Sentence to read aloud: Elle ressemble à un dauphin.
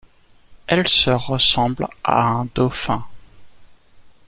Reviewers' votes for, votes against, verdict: 0, 2, rejected